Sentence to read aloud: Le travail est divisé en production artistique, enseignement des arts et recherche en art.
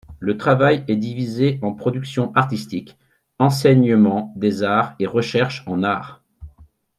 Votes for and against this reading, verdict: 2, 0, accepted